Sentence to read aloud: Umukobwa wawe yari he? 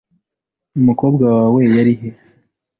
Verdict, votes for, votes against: accepted, 2, 0